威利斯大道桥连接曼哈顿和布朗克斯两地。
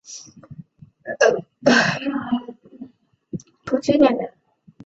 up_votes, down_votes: 0, 2